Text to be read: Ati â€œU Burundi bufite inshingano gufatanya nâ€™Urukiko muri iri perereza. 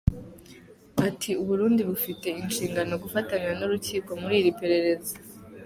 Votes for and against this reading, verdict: 2, 1, accepted